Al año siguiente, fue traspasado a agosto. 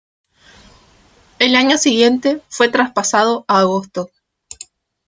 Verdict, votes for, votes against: rejected, 1, 2